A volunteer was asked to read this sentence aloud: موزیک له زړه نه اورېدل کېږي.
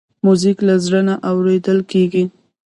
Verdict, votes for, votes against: rejected, 1, 2